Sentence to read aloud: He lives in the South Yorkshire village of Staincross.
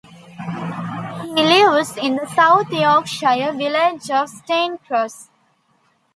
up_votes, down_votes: 1, 2